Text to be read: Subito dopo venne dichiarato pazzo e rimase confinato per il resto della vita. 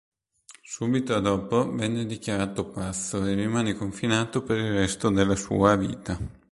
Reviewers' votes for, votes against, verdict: 1, 3, rejected